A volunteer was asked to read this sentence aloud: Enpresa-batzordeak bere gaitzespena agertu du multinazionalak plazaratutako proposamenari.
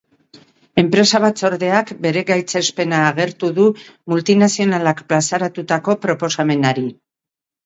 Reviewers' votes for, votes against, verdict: 2, 0, accepted